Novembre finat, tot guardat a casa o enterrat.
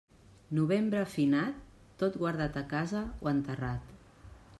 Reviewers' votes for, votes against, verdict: 3, 0, accepted